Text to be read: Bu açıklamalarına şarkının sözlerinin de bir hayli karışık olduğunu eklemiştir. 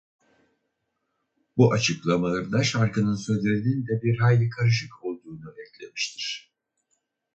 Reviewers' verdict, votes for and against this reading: rejected, 2, 2